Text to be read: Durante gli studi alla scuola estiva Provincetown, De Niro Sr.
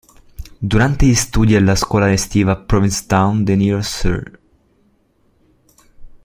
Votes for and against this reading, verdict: 1, 2, rejected